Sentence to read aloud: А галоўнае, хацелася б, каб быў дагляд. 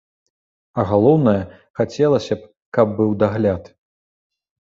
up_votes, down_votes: 2, 0